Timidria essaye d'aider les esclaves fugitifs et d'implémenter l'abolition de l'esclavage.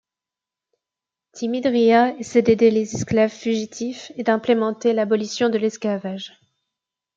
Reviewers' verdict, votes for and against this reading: accepted, 2, 0